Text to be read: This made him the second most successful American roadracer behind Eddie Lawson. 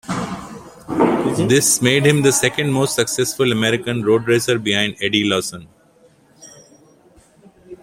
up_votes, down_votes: 2, 1